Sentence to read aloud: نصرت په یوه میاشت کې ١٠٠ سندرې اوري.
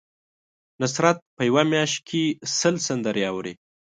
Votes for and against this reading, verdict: 0, 2, rejected